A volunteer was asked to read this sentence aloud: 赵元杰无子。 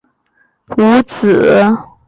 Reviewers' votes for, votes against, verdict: 0, 2, rejected